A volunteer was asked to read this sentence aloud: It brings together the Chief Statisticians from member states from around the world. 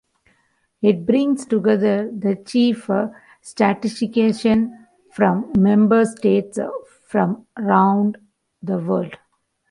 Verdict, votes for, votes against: rejected, 0, 2